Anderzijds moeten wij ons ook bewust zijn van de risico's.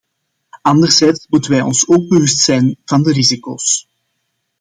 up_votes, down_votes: 2, 0